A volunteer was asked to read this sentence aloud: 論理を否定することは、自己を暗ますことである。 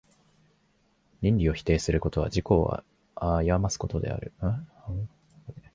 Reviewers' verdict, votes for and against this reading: rejected, 1, 3